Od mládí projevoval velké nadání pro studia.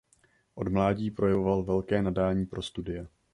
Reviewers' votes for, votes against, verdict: 3, 0, accepted